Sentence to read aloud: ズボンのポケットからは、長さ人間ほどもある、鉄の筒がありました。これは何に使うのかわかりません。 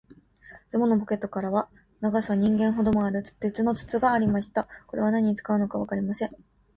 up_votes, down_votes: 2, 0